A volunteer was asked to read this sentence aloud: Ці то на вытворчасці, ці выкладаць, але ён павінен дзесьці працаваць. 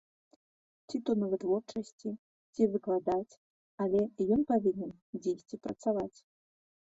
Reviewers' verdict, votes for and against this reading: rejected, 0, 2